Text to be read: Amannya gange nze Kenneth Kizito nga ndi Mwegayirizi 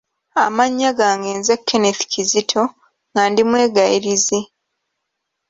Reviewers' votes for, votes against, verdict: 2, 0, accepted